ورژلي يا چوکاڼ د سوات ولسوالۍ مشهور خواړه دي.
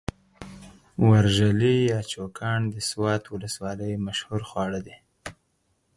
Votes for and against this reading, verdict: 4, 0, accepted